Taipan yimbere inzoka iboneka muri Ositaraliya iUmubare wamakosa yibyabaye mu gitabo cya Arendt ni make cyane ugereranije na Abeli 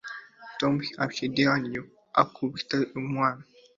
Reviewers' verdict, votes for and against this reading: rejected, 1, 2